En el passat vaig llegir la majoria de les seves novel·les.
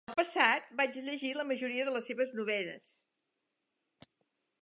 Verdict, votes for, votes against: rejected, 0, 3